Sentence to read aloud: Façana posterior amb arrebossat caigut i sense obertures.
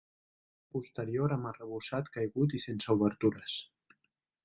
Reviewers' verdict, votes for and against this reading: rejected, 0, 2